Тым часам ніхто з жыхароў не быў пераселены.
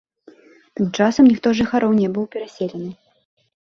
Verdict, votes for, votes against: rejected, 1, 2